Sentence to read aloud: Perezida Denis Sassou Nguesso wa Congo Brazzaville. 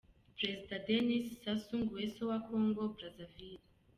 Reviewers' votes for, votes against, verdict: 2, 0, accepted